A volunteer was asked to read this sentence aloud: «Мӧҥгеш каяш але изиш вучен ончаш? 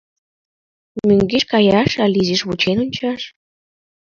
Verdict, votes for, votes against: accepted, 2, 0